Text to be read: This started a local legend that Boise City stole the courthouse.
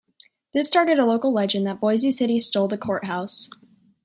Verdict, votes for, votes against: accepted, 2, 0